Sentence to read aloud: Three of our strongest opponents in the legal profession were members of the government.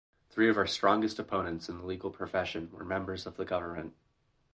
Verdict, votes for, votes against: rejected, 0, 2